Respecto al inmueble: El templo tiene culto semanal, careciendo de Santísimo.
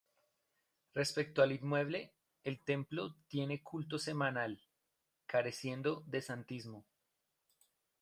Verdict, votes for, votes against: rejected, 0, 2